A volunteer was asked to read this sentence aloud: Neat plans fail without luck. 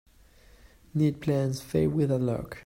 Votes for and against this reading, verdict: 0, 2, rejected